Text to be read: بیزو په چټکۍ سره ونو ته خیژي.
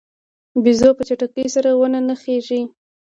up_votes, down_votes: 0, 2